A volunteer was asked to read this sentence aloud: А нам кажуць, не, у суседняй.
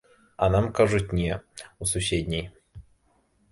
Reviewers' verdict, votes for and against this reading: accepted, 2, 0